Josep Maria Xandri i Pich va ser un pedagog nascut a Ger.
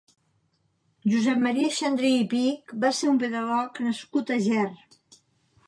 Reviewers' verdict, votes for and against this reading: accepted, 2, 0